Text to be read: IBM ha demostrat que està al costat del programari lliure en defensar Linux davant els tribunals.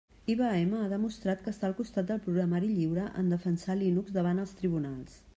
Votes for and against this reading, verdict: 2, 0, accepted